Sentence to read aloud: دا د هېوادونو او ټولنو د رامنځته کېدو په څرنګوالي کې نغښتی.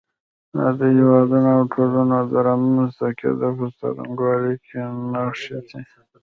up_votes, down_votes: 2, 1